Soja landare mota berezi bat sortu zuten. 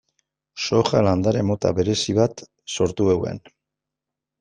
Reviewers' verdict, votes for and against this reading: rejected, 1, 2